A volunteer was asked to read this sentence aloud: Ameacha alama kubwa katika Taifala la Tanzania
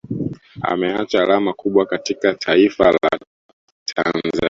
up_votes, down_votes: 1, 2